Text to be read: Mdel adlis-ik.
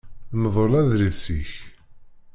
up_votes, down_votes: 0, 2